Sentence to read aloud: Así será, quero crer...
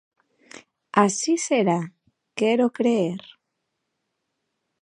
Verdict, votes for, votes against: rejected, 1, 2